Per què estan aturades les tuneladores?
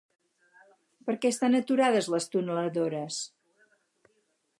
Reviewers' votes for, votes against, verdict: 4, 0, accepted